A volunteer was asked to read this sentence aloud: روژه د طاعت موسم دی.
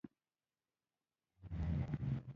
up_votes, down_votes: 0, 2